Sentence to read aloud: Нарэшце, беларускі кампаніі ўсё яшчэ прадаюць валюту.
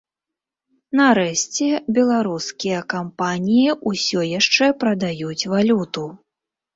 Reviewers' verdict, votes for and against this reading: rejected, 0, 2